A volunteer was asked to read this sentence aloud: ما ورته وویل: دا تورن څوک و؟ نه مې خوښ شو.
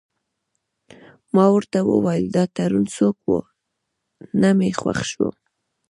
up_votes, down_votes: 1, 2